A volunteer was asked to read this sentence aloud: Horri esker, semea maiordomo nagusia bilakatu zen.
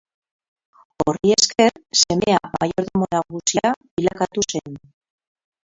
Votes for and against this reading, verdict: 0, 2, rejected